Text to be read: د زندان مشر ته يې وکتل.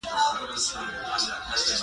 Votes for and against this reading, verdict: 2, 1, accepted